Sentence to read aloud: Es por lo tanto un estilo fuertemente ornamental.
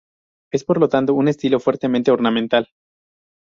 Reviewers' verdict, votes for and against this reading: accepted, 4, 0